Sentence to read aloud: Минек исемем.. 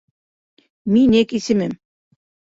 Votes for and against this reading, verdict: 2, 3, rejected